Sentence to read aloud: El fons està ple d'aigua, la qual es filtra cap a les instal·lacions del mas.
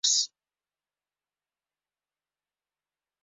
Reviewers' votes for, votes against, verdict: 0, 2, rejected